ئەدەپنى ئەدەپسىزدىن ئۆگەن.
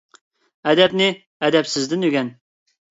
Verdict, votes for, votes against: accepted, 2, 0